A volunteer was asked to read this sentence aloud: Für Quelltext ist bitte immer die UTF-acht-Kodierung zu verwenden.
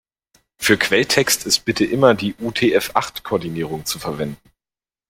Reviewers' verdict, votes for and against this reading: rejected, 0, 2